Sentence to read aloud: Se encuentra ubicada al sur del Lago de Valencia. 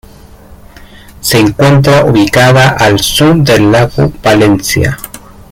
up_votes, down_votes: 1, 2